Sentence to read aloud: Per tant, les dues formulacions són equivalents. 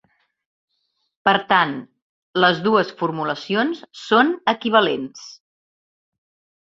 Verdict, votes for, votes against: accepted, 3, 0